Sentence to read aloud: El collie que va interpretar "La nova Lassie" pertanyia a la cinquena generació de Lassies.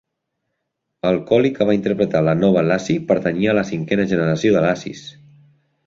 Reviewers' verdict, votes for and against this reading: accepted, 2, 0